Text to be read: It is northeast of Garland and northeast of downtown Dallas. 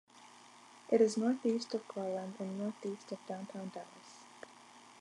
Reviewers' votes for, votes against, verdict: 2, 0, accepted